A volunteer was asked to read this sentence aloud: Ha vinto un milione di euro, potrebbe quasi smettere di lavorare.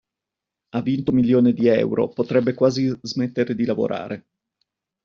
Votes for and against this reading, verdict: 2, 1, accepted